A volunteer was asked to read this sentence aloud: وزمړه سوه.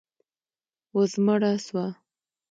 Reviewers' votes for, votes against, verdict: 2, 0, accepted